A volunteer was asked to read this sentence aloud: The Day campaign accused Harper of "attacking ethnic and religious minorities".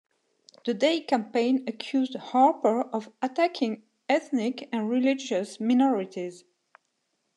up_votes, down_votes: 2, 0